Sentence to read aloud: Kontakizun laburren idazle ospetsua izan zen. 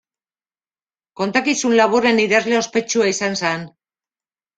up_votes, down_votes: 1, 2